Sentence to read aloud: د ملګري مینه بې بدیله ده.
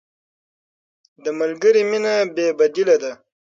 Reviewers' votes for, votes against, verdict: 6, 0, accepted